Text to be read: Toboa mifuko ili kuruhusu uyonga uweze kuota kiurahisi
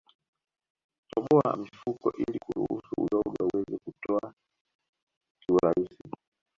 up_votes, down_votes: 1, 2